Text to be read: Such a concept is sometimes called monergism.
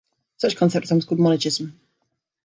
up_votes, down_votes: 1, 2